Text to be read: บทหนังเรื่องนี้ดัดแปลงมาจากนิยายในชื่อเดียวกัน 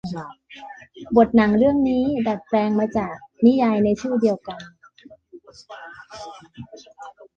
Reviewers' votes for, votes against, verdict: 2, 1, accepted